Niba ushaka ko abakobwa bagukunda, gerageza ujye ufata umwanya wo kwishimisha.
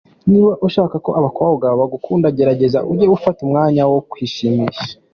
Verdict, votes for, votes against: accepted, 2, 0